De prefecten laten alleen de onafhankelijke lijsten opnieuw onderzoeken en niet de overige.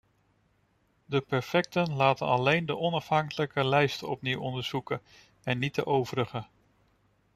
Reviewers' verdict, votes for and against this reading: rejected, 0, 2